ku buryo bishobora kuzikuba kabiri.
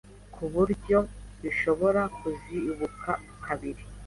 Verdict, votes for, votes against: accepted, 2, 1